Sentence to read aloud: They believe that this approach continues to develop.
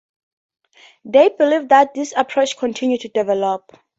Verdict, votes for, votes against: rejected, 2, 4